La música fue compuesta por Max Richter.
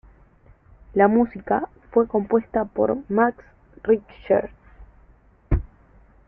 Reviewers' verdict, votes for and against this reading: rejected, 0, 3